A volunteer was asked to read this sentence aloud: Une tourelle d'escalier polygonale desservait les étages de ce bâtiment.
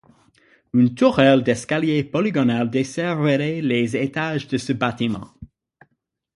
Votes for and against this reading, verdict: 3, 6, rejected